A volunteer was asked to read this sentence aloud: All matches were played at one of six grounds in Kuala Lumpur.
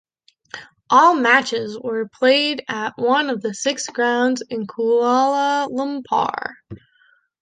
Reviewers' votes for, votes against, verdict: 1, 2, rejected